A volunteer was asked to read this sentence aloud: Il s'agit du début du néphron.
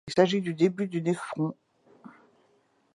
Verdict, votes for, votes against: accepted, 2, 0